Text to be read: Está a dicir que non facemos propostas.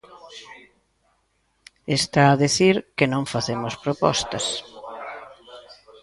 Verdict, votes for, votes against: rejected, 0, 2